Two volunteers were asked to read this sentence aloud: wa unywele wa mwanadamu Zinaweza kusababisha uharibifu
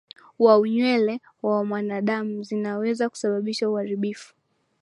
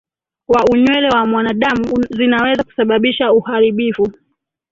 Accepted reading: first